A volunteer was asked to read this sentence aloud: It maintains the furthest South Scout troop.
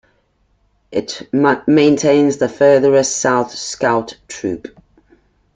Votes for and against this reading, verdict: 0, 2, rejected